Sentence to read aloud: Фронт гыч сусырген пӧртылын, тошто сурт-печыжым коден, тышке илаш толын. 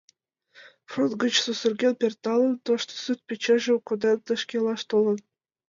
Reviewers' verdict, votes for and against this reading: accepted, 2, 1